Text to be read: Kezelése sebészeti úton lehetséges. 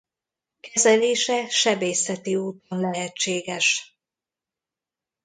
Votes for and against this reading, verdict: 1, 2, rejected